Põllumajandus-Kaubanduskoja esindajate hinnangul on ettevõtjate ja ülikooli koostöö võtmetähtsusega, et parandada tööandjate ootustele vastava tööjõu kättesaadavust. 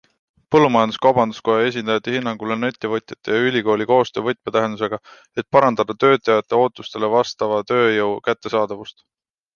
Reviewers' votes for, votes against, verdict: 0, 2, rejected